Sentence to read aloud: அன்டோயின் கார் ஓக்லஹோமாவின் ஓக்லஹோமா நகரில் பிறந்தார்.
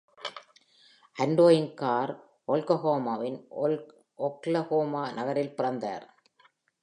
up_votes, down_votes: 1, 3